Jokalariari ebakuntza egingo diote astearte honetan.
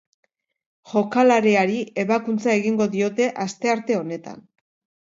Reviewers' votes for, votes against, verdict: 0, 2, rejected